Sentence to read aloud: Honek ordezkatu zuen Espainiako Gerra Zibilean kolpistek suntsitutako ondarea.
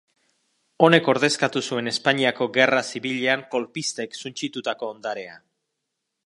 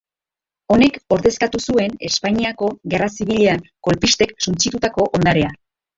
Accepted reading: first